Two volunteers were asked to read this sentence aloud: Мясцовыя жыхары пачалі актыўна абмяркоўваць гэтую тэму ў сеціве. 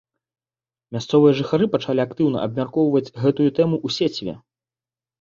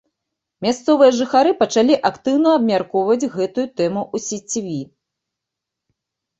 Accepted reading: first